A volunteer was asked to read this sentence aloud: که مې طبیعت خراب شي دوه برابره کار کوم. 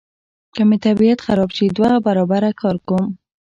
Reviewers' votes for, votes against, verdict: 2, 1, accepted